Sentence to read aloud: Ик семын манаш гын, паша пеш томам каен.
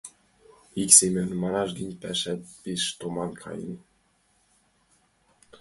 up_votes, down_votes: 1, 2